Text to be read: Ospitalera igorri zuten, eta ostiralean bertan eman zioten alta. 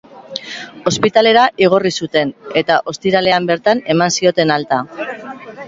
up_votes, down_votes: 5, 0